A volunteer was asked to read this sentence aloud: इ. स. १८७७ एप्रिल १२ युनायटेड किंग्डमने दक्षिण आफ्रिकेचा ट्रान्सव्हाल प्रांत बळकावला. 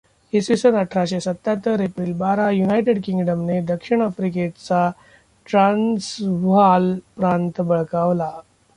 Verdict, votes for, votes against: rejected, 0, 2